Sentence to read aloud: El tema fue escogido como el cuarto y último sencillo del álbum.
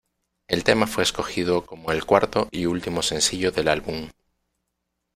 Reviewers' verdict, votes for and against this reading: accepted, 2, 0